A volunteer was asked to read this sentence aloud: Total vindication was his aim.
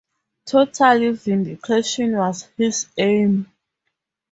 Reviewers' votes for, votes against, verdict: 0, 2, rejected